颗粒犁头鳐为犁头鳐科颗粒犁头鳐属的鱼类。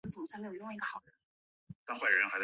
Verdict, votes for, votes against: rejected, 0, 4